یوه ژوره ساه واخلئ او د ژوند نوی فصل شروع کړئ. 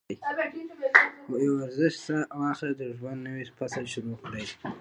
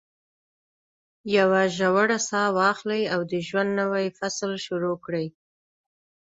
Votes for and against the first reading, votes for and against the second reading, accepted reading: 1, 2, 2, 0, second